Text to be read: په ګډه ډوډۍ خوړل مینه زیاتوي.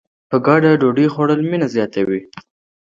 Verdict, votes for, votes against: accepted, 2, 0